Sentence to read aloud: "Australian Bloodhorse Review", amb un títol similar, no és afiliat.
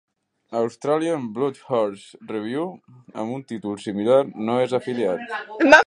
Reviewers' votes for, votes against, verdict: 0, 2, rejected